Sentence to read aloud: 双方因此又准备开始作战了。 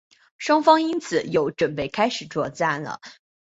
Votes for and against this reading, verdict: 3, 0, accepted